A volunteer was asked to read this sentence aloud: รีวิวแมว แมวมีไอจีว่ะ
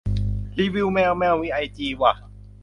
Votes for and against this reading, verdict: 2, 0, accepted